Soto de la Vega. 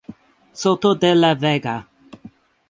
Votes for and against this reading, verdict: 2, 0, accepted